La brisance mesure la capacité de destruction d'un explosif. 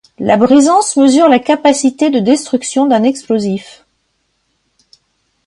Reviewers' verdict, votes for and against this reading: accepted, 2, 0